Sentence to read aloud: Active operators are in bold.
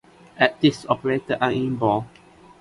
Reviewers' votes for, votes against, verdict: 2, 1, accepted